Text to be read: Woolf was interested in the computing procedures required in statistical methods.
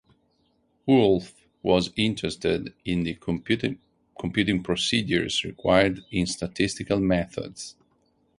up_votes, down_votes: 2, 4